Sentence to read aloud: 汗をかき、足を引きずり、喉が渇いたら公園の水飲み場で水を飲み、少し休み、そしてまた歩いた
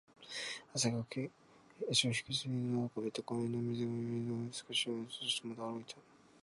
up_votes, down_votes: 2, 0